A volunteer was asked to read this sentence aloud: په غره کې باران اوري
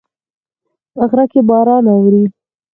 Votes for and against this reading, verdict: 4, 0, accepted